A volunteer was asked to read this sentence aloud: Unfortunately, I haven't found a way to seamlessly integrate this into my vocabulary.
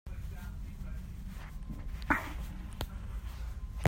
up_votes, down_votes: 0, 2